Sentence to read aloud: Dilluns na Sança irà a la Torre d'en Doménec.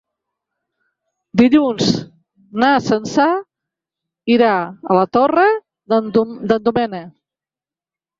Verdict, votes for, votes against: rejected, 0, 3